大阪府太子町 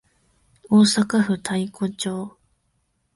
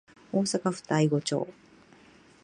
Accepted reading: second